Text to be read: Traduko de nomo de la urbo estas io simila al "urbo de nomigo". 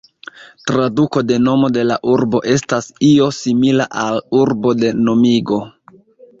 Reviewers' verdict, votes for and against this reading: rejected, 0, 2